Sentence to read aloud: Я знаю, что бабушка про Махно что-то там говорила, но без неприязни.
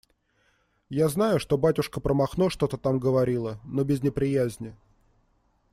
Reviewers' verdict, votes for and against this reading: rejected, 1, 2